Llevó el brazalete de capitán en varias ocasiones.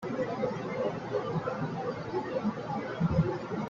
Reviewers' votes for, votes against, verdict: 0, 2, rejected